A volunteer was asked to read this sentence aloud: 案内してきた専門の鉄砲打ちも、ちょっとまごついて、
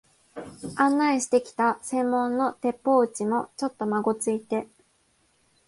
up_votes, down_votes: 2, 0